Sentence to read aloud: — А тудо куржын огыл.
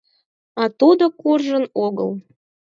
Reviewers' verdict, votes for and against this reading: accepted, 4, 0